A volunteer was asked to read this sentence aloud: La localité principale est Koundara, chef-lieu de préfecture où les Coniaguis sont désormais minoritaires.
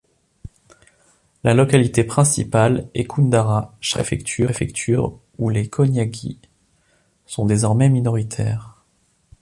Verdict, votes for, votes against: rejected, 0, 2